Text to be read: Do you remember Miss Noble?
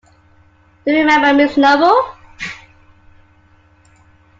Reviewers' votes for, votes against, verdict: 2, 1, accepted